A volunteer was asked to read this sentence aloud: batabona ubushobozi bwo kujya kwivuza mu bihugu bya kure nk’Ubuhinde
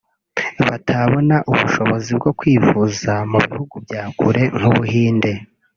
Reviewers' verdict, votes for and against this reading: rejected, 1, 2